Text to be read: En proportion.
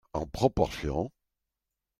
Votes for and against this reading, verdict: 2, 0, accepted